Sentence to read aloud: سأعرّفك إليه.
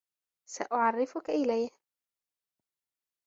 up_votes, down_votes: 3, 0